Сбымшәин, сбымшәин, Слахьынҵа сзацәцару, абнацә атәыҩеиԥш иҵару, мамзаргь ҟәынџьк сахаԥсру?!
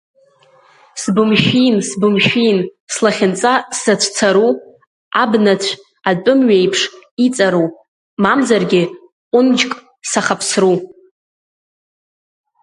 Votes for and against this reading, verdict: 1, 2, rejected